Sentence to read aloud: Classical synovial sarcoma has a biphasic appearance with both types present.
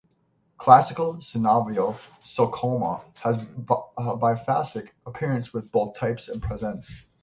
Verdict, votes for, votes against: rejected, 0, 6